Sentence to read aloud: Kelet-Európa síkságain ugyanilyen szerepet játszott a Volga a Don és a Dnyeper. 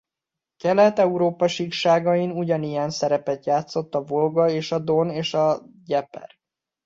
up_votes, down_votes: 1, 2